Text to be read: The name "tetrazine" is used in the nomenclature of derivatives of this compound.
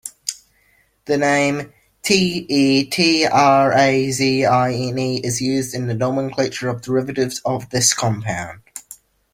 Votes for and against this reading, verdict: 2, 0, accepted